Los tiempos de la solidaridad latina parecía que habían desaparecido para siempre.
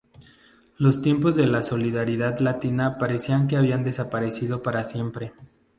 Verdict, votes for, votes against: rejected, 0, 2